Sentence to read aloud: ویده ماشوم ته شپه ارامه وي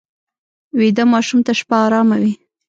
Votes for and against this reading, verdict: 1, 2, rejected